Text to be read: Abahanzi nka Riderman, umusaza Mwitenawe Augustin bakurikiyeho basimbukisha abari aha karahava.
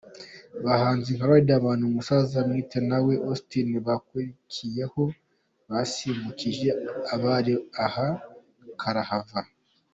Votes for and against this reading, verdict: 2, 0, accepted